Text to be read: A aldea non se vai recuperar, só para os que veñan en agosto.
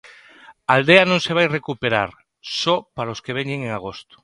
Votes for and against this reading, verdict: 1, 2, rejected